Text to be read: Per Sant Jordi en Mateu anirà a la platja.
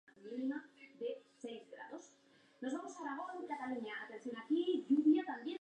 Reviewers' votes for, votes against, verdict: 0, 2, rejected